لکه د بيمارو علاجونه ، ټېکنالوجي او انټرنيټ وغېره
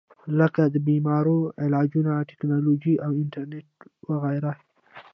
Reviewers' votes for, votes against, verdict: 0, 2, rejected